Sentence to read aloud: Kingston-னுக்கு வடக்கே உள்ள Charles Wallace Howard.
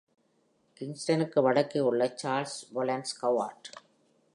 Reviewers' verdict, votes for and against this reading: rejected, 1, 2